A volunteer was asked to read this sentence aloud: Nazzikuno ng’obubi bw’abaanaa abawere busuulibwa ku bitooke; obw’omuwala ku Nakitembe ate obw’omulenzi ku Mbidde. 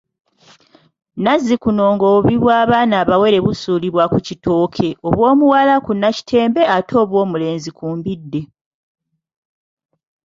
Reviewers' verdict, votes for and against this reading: rejected, 0, 2